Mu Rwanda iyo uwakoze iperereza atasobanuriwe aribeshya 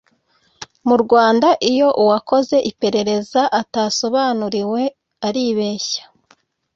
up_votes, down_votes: 2, 0